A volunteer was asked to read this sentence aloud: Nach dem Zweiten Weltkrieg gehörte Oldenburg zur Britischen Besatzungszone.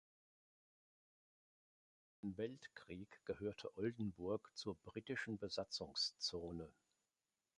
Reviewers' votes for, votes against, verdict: 1, 2, rejected